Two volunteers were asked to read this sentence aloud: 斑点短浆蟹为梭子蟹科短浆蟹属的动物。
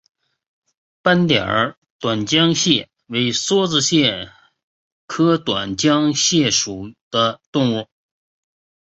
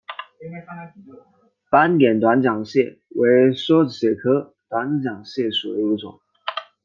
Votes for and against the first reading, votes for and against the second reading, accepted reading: 2, 0, 0, 2, first